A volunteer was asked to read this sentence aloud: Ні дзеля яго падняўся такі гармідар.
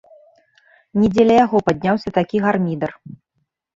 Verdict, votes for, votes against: accepted, 2, 0